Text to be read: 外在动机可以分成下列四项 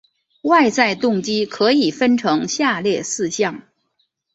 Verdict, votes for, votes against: accepted, 2, 0